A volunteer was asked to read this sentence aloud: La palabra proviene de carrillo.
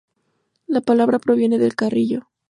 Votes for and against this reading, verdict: 0, 2, rejected